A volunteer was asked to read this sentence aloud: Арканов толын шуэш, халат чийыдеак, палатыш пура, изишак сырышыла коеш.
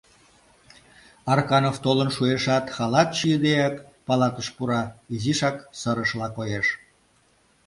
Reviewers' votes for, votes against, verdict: 0, 2, rejected